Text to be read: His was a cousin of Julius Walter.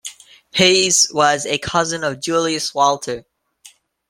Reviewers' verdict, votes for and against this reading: accepted, 2, 0